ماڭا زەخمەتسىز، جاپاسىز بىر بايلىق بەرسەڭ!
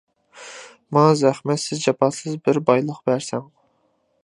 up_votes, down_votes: 2, 0